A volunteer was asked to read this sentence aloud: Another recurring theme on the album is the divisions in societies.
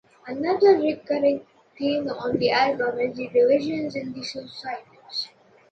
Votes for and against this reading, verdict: 2, 0, accepted